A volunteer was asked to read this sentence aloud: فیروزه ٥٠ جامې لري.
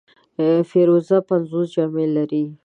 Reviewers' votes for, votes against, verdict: 0, 2, rejected